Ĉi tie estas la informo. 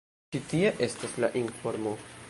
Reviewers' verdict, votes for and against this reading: rejected, 0, 2